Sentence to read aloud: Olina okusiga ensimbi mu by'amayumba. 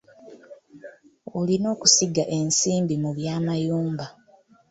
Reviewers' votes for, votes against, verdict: 2, 0, accepted